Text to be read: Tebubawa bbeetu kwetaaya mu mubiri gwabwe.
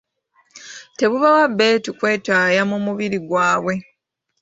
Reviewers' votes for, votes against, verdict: 2, 1, accepted